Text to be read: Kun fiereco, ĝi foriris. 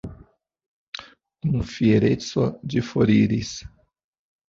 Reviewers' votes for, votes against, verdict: 0, 2, rejected